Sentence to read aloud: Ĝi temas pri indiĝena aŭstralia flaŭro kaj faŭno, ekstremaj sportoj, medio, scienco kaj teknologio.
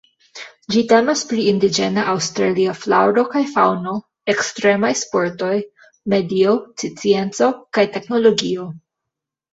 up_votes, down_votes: 2, 1